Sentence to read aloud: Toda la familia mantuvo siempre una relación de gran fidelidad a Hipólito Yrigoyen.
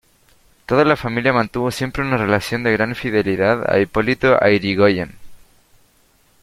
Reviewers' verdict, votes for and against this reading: rejected, 0, 2